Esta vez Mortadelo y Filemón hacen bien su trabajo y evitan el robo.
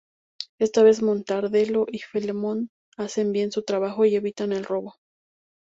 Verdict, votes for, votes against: rejected, 2, 2